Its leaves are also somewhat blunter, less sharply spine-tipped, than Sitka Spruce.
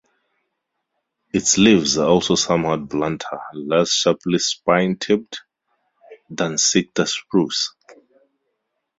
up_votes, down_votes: 2, 2